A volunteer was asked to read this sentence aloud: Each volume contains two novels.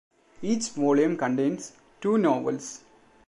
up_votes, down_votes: 2, 0